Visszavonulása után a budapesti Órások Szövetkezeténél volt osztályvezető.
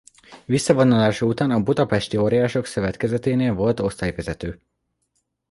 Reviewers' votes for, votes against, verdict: 0, 2, rejected